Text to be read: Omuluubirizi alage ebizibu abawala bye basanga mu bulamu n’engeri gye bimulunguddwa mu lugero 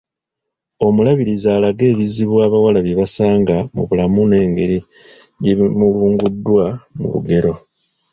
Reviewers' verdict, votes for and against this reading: rejected, 0, 2